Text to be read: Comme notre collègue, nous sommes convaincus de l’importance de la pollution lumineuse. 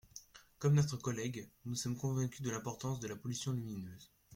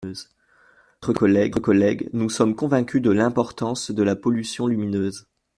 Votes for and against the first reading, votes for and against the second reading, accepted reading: 2, 0, 0, 2, first